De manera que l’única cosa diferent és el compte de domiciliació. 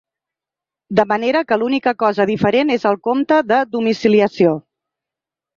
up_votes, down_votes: 3, 0